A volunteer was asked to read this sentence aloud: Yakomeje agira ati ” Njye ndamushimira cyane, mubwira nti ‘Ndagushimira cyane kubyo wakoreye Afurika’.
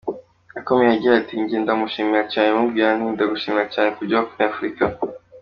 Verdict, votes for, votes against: accepted, 2, 0